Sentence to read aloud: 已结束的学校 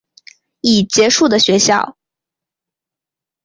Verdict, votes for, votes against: accepted, 3, 0